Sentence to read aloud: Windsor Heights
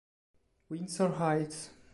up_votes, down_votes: 2, 0